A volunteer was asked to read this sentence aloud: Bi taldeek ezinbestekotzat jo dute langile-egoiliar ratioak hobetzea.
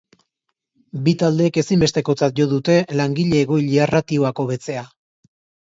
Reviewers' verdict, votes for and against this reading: accepted, 3, 0